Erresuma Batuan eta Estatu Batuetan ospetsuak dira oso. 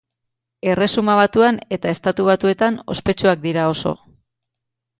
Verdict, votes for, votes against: accepted, 2, 0